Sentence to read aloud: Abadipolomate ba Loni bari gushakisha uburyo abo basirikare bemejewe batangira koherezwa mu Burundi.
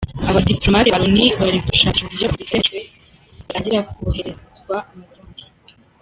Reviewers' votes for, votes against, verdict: 0, 2, rejected